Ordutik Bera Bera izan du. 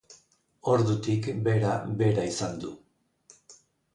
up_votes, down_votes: 2, 0